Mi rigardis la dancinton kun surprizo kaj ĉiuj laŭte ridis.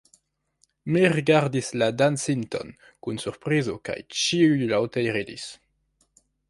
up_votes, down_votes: 3, 0